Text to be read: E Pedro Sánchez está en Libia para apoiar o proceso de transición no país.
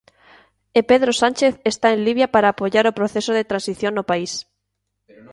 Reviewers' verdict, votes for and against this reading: rejected, 1, 2